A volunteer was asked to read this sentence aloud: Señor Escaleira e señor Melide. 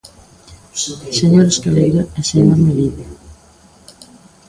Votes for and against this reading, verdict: 2, 0, accepted